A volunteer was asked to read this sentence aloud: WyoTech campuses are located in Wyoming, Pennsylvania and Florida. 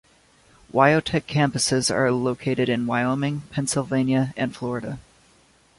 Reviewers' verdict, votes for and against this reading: accepted, 2, 0